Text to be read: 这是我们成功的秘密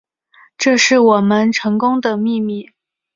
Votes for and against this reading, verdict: 2, 0, accepted